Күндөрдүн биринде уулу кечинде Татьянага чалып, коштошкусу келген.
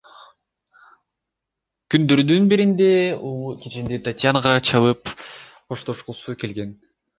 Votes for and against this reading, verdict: 2, 0, accepted